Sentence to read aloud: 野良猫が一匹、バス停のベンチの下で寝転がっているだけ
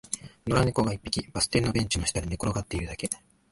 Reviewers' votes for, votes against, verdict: 2, 1, accepted